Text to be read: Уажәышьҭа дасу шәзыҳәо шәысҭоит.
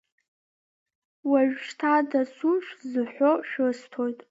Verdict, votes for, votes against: accepted, 2, 1